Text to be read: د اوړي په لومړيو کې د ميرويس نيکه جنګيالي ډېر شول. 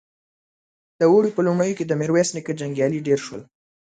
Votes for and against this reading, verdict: 2, 0, accepted